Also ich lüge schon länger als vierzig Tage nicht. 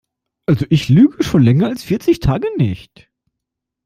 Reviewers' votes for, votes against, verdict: 2, 0, accepted